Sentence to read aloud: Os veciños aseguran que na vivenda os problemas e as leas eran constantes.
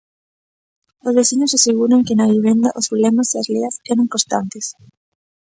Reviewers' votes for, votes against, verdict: 2, 0, accepted